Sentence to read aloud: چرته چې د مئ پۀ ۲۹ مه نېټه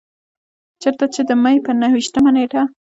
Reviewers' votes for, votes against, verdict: 0, 2, rejected